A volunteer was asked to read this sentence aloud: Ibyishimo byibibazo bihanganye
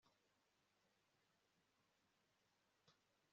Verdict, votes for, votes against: accepted, 2, 1